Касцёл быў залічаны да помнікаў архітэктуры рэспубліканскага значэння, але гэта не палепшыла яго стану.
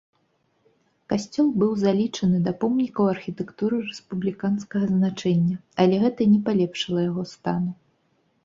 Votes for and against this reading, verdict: 3, 0, accepted